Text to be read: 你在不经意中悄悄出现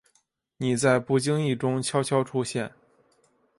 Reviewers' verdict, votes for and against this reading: accepted, 2, 0